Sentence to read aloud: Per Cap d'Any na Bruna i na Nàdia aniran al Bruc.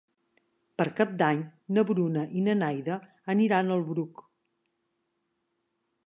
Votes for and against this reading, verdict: 1, 2, rejected